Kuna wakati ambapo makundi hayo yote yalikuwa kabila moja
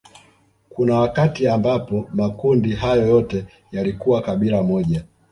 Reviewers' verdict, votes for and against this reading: accepted, 2, 1